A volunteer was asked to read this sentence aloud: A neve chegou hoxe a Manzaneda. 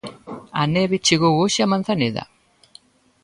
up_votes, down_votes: 2, 0